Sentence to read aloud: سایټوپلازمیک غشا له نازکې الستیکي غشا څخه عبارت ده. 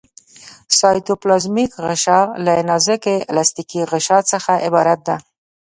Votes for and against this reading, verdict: 2, 0, accepted